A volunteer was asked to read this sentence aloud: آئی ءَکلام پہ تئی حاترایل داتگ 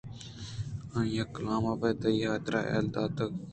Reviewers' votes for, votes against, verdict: 0, 2, rejected